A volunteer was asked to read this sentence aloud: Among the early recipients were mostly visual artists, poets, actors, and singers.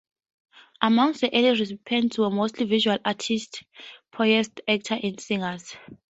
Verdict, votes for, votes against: rejected, 0, 2